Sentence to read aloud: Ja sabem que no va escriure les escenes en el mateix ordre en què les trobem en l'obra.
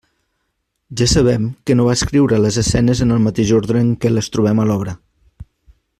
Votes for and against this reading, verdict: 1, 2, rejected